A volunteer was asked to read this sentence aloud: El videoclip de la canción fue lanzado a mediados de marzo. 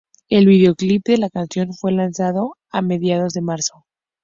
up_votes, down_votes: 4, 0